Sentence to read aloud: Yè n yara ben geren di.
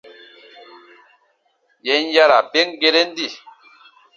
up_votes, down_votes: 3, 0